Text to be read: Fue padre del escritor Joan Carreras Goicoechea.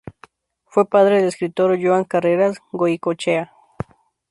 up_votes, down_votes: 2, 0